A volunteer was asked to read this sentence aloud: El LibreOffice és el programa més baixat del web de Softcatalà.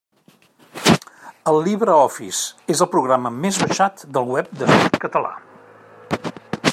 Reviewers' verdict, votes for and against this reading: accepted, 2, 1